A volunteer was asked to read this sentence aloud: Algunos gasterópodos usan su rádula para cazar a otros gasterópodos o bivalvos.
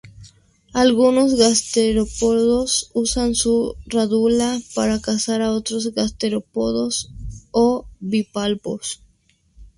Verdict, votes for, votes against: accepted, 2, 0